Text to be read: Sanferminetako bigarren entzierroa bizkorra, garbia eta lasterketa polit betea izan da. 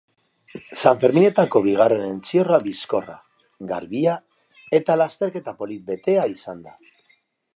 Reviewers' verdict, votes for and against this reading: accepted, 2, 0